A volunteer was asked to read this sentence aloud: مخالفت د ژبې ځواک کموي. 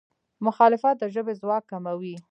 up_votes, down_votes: 2, 1